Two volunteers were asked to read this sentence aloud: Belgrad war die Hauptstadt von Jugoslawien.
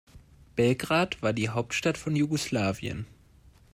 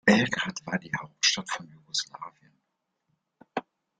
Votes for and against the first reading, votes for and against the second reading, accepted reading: 2, 0, 0, 2, first